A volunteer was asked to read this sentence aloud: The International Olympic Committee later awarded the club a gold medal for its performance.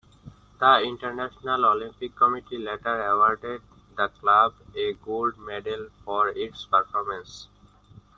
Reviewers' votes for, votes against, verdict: 0, 2, rejected